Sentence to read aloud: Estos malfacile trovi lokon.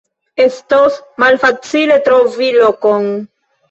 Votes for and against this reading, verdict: 2, 1, accepted